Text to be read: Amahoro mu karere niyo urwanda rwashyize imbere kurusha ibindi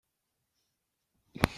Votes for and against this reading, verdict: 0, 2, rejected